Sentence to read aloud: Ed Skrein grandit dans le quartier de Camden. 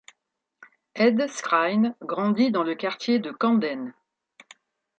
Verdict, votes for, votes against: rejected, 1, 2